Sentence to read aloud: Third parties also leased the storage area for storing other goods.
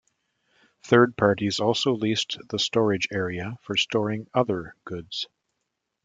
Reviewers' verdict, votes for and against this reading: accepted, 2, 0